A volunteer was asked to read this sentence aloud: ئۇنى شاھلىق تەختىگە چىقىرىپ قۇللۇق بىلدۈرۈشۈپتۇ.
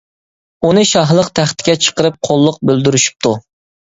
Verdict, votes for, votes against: accepted, 2, 1